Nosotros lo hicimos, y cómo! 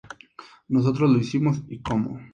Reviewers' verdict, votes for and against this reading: accepted, 2, 0